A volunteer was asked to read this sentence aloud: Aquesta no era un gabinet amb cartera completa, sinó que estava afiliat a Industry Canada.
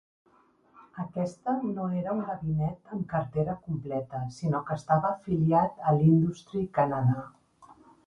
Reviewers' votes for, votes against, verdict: 0, 2, rejected